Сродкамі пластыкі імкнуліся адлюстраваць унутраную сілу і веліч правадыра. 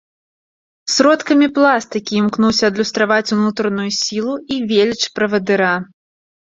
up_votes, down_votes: 1, 2